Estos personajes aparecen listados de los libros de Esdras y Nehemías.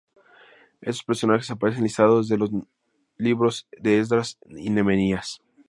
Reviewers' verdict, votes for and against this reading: rejected, 0, 2